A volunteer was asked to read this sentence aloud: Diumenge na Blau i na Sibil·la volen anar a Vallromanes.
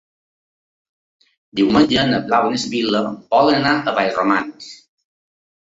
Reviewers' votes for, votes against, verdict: 1, 2, rejected